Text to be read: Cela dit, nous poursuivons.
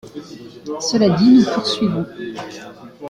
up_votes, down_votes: 2, 0